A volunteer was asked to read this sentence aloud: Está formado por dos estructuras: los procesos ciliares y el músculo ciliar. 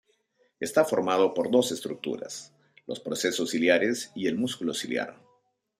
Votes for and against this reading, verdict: 2, 0, accepted